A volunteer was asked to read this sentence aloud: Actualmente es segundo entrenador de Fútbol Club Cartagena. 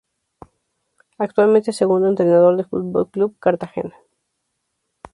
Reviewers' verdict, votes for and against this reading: accepted, 2, 0